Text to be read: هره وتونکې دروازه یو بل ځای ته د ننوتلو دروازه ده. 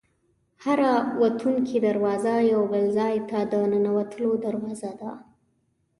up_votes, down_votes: 1, 2